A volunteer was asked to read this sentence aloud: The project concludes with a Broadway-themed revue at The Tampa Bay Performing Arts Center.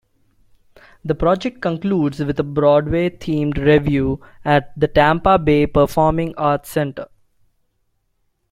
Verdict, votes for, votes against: accepted, 2, 0